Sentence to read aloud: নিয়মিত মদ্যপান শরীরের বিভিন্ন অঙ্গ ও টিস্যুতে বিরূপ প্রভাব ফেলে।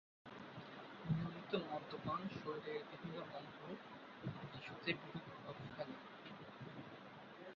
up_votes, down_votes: 1, 5